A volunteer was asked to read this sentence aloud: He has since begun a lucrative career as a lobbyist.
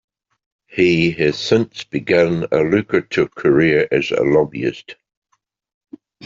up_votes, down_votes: 2, 0